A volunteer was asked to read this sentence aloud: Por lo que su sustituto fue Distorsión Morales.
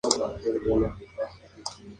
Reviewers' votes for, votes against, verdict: 0, 4, rejected